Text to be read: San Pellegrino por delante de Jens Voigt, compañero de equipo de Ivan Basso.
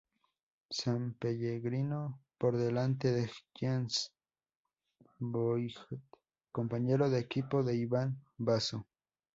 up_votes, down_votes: 2, 2